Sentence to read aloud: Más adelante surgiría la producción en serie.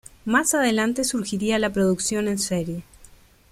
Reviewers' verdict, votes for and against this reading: accepted, 2, 1